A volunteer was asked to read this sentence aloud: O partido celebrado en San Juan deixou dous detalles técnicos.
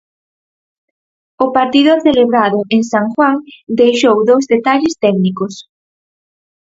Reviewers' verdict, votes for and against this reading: accepted, 4, 0